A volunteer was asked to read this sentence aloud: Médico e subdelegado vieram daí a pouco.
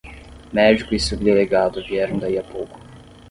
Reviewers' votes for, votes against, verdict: 5, 5, rejected